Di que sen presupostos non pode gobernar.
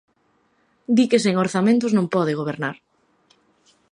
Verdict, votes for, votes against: rejected, 1, 4